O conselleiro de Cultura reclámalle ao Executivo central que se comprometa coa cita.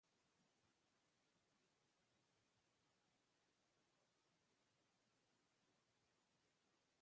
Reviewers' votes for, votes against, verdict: 0, 2, rejected